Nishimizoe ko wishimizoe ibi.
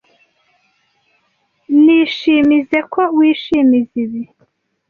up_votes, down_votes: 1, 2